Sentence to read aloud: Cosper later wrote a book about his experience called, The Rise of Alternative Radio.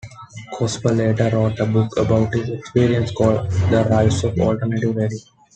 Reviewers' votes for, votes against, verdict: 1, 2, rejected